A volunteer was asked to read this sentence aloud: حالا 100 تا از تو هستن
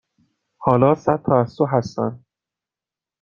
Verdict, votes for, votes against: rejected, 0, 2